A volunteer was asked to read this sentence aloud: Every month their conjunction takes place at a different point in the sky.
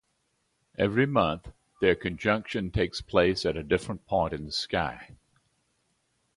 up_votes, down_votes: 2, 0